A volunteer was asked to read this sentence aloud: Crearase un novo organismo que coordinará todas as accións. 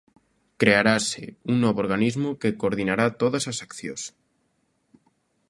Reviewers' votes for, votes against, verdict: 2, 0, accepted